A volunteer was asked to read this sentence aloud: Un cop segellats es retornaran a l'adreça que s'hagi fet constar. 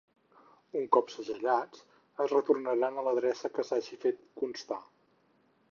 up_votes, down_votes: 4, 0